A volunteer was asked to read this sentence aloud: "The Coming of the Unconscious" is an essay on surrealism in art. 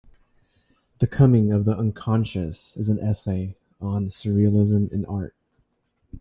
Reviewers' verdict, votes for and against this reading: rejected, 1, 2